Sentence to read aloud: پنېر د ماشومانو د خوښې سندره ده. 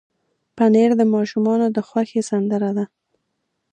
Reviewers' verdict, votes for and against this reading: rejected, 1, 2